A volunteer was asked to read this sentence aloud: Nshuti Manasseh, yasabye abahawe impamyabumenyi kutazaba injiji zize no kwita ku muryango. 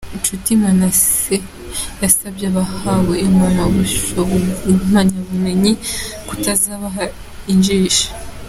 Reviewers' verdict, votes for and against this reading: rejected, 0, 2